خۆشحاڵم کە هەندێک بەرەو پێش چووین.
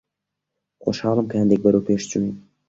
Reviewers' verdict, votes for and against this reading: accepted, 2, 0